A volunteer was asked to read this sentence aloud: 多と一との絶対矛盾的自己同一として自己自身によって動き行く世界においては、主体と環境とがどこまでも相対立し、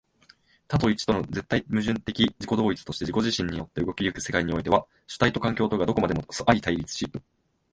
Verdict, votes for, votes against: rejected, 1, 2